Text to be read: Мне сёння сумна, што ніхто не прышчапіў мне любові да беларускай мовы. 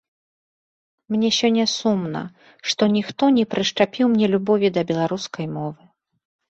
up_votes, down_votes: 2, 0